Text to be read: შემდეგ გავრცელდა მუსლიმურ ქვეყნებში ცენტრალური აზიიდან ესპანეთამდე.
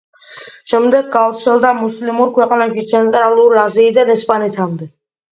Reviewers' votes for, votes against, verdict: 2, 0, accepted